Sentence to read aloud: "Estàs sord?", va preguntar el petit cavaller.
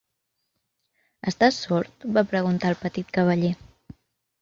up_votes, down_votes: 2, 0